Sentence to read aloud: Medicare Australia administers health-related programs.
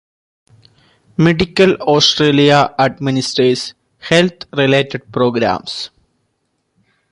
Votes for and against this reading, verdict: 0, 2, rejected